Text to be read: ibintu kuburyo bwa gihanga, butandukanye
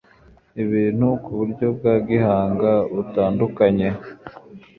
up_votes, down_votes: 2, 0